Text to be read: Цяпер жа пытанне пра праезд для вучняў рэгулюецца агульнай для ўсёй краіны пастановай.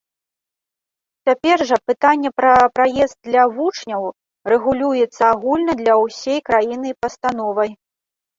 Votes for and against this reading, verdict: 0, 2, rejected